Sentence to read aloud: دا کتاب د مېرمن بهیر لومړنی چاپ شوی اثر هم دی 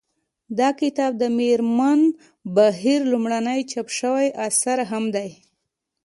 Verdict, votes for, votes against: accepted, 2, 0